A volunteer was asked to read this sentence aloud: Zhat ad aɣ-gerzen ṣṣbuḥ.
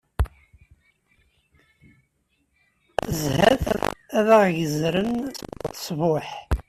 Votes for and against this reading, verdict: 0, 2, rejected